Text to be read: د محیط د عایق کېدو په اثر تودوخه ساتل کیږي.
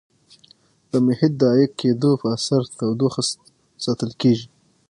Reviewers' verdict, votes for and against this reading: rejected, 3, 6